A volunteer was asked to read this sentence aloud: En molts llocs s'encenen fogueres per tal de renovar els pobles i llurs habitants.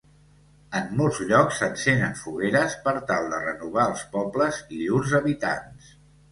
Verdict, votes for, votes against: accepted, 2, 0